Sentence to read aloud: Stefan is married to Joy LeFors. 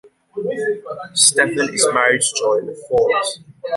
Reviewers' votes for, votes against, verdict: 1, 2, rejected